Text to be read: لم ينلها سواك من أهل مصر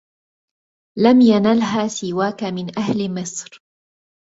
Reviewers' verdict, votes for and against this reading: accepted, 2, 0